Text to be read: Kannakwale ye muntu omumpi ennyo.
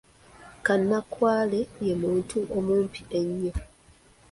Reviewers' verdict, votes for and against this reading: accepted, 2, 0